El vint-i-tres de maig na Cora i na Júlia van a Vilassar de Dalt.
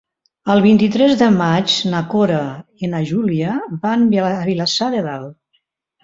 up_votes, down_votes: 0, 2